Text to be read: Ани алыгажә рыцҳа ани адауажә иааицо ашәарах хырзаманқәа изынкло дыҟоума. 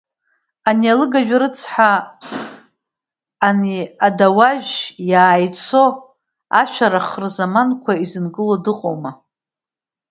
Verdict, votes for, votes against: rejected, 0, 2